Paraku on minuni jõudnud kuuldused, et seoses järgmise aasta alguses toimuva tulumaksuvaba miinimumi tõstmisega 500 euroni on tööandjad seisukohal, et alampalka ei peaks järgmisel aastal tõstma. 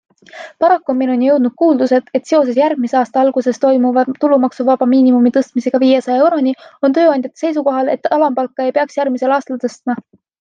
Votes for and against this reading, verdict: 0, 2, rejected